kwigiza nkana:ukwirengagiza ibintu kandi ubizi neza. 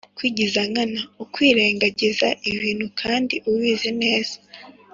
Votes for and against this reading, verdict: 2, 0, accepted